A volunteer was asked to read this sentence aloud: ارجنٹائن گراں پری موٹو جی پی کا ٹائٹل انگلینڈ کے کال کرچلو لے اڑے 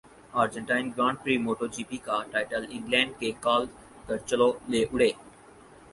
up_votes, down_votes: 4, 0